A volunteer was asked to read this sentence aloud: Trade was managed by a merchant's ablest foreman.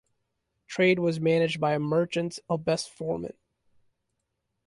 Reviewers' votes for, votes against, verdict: 2, 1, accepted